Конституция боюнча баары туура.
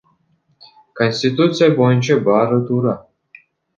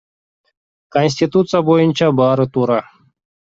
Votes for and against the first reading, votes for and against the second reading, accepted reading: 0, 2, 2, 0, second